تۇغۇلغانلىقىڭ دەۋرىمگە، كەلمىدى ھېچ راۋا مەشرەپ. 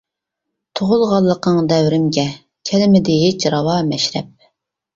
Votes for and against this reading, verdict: 2, 0, accepted